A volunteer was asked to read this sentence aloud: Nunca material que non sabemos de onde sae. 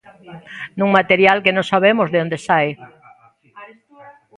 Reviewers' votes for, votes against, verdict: 0, 3, rejected